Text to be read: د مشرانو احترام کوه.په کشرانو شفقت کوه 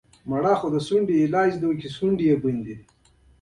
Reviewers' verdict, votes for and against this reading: accepted, 2, 1